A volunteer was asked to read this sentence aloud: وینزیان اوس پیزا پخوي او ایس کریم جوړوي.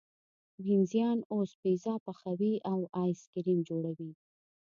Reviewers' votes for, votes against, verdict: 2, 1, accepted